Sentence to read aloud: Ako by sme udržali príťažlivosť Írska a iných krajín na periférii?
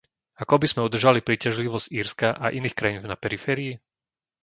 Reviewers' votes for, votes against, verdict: 0, 2, rejected